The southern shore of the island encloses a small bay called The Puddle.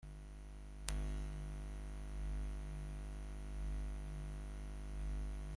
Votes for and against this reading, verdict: 0, 2, rejected